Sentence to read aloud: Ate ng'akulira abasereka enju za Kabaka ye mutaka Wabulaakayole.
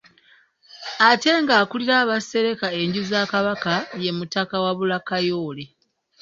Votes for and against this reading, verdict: 1, 2, rejected